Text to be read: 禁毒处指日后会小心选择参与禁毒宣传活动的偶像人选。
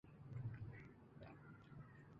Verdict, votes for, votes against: rejected, 0, 3